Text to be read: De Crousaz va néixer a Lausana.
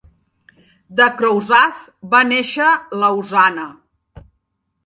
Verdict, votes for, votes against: rejected, 1, 2